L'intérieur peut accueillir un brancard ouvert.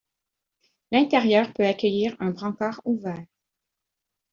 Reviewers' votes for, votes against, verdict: 0, 2, rejected